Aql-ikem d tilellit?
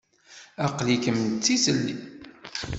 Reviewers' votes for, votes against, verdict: 0, 2, rejected